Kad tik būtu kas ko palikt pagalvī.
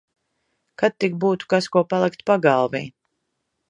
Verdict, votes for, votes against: accepted, 3, 0